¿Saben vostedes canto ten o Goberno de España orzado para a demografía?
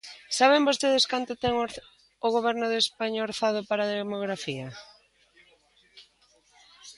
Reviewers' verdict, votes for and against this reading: rejected, 0, 2